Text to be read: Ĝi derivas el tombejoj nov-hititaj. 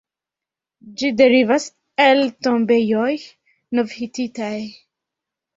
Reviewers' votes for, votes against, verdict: 2, 1, accepted